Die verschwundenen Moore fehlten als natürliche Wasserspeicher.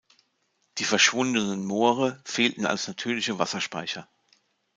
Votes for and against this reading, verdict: 2, 0, accepted